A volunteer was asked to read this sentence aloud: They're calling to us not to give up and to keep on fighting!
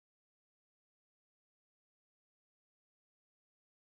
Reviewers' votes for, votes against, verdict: 0, 3, rejected